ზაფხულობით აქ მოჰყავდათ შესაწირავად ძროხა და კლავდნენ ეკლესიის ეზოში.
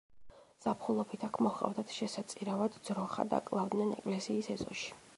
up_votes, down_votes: 2, 0